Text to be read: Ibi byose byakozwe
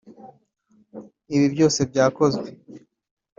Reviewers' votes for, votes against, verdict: 2, 0, accepted